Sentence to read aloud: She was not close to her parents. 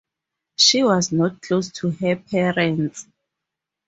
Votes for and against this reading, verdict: 4, 0, accepted